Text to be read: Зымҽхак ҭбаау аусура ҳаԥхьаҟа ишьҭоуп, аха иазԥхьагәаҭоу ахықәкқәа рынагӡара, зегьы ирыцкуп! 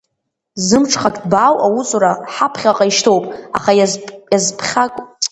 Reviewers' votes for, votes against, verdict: 0, 2, rejected